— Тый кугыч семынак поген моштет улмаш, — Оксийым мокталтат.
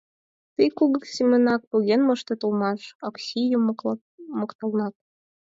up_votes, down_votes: 0, 4